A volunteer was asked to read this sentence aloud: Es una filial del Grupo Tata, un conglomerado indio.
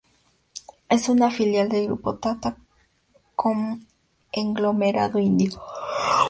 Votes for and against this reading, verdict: 0, 2, rejected